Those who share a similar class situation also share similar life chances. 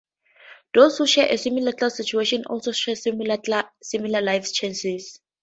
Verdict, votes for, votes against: rejected, 0, 2